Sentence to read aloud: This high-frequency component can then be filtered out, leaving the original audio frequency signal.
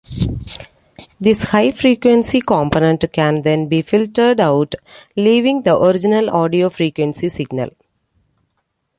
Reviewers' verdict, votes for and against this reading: accepted, 2, 0